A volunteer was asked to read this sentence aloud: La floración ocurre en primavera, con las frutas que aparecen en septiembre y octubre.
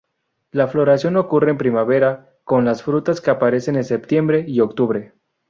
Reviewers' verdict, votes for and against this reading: accepted, 2, 0